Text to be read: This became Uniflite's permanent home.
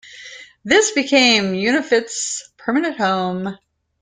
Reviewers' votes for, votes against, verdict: 0, 2, rejected